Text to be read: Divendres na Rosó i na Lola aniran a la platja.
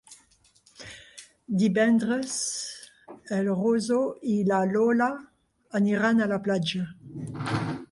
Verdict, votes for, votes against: rejected, 0, 2